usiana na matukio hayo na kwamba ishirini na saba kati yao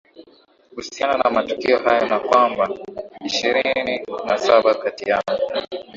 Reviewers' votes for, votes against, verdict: 4, 0, accepted